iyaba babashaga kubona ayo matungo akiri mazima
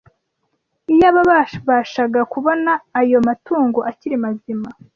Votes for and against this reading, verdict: 1, 2, rejected